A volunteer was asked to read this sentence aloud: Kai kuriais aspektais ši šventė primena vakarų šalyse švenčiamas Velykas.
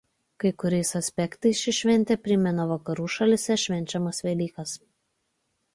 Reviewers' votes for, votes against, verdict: 2, 0, accepted